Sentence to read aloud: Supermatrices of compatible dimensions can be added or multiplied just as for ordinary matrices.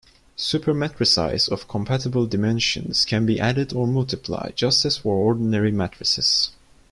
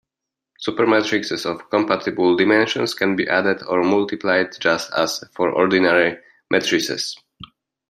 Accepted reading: second